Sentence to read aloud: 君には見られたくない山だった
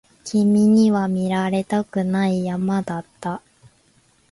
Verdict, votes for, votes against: accepted, 3, 1